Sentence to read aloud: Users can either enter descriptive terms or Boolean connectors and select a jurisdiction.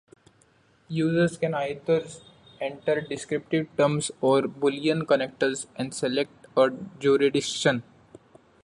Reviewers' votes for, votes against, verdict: 0, 2, rejected